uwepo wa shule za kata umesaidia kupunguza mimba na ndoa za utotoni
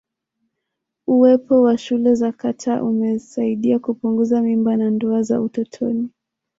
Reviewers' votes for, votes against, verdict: 2, 0, accepted